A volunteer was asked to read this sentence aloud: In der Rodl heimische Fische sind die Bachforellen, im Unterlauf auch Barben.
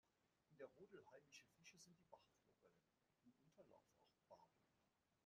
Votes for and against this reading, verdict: 0, 2, rejected